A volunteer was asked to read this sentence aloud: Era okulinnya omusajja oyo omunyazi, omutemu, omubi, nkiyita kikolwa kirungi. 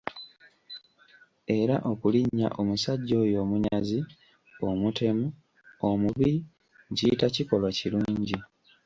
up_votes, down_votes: 1, 2